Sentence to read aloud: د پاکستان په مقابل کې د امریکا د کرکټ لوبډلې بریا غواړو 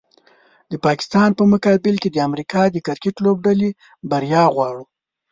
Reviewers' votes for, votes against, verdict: 0, 2, rejected